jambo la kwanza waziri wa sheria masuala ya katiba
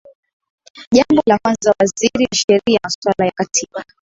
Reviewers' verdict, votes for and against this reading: accepted, 3, 1